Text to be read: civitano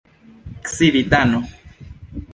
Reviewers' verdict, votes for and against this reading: accepted, 2, 0